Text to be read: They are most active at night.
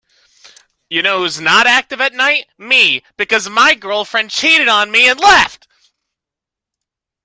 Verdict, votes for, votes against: rejected, 0, 2